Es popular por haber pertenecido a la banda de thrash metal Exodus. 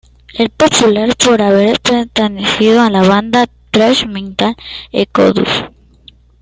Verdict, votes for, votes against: accepted, 2, 0